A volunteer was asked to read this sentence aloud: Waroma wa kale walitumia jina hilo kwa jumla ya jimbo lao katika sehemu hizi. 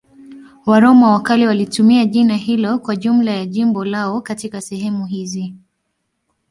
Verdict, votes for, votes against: accepted, 2, 0